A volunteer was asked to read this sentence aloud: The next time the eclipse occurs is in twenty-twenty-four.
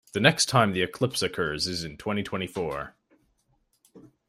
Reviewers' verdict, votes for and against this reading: accepted, 2, 0